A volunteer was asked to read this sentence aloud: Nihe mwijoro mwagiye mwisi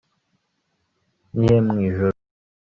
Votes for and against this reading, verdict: 0, 2, rejected